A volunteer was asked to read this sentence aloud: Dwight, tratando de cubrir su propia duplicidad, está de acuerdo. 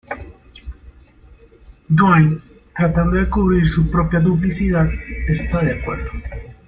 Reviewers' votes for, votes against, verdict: 0, 2, rejected